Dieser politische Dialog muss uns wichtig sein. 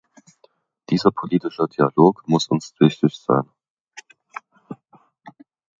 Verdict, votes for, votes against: accepted, 2, 1